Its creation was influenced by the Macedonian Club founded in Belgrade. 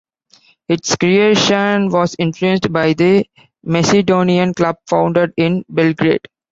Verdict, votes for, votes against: rejected, 1, 2